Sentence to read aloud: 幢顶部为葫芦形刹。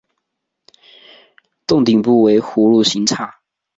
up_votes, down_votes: 4, 1